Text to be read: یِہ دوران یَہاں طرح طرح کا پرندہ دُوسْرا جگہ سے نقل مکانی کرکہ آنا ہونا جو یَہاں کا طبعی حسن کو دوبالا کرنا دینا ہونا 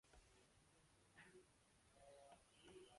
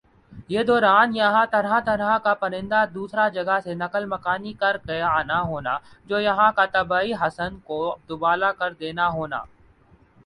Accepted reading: second